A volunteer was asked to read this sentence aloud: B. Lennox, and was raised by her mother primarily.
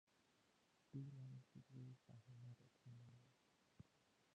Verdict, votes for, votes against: rejected, 0, 2